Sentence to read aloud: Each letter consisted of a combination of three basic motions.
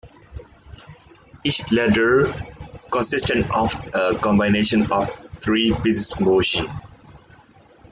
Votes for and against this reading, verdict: 1, 2, rejected